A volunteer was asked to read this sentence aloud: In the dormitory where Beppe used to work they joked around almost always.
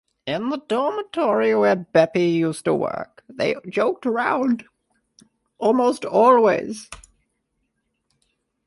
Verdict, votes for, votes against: accepted, 2, 1